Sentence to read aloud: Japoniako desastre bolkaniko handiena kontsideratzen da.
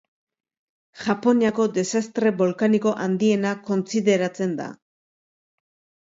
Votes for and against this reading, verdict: 2, 0, accepted